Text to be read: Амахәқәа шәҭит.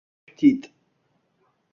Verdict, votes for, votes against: rejected, 0, 2